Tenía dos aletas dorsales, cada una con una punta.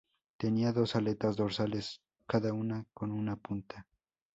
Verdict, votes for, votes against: accepted, 4, 2